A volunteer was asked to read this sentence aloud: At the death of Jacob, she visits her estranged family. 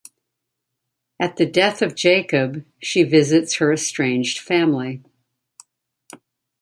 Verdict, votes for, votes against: rejected, 1, 2